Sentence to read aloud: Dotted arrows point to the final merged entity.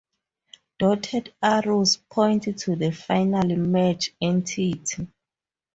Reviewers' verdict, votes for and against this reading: rejected, 2, 2